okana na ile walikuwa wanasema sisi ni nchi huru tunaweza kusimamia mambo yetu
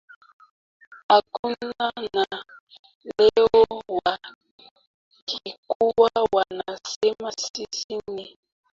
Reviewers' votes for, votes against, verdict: 1, 2, rejected